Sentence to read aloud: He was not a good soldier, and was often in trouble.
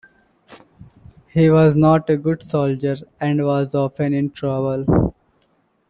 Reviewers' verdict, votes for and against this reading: accepted, 2, 0